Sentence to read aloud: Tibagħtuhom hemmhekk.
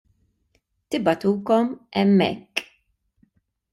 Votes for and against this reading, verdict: 0, 2, rejected